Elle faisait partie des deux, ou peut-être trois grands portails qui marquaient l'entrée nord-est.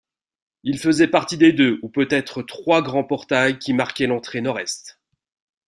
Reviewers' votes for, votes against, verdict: 1, 3, rejected